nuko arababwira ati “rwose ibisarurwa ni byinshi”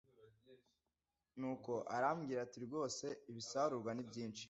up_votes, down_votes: 1, 2